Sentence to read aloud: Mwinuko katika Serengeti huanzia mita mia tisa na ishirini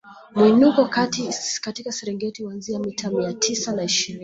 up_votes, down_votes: 0, 2